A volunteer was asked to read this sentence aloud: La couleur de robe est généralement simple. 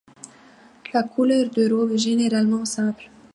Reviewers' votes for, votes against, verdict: 2, 0, accepted